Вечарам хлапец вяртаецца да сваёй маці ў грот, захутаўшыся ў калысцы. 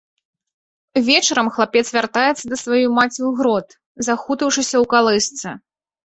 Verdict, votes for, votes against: accepted, 2, 0